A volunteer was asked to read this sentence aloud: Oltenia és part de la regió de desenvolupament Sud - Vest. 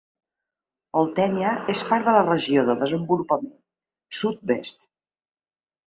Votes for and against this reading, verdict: 0, 2, rejected